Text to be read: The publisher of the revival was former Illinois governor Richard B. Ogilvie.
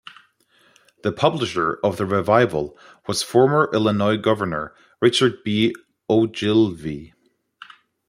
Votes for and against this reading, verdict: 0, 2, rejected